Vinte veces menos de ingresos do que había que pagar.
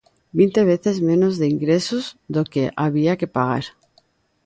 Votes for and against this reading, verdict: 2, 0, accepted